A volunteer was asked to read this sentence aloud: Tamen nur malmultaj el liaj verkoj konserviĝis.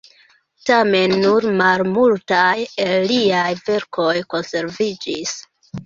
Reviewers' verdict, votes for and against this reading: accepted, 2, 1